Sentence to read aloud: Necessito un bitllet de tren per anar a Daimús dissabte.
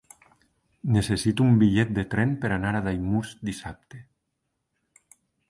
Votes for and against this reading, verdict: 1, 2, rejected